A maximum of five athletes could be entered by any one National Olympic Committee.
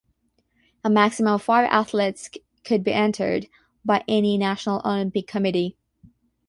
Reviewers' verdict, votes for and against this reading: rejected, 0, 6